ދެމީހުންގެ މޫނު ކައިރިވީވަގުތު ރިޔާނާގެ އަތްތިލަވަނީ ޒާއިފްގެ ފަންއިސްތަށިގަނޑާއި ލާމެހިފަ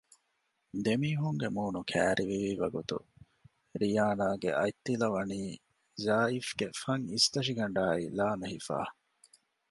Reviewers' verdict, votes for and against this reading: accepted, 2, 0